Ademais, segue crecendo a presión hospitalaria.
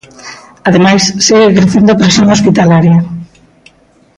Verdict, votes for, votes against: accepted, 2, 0